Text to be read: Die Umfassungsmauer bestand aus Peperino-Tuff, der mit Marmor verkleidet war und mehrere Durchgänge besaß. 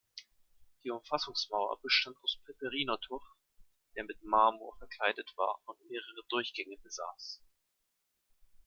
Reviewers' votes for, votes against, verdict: 2, 0, accepted